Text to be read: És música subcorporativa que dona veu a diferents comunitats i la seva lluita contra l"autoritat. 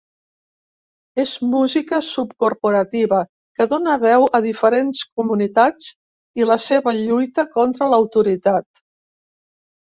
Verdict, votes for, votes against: accepted, 2, 0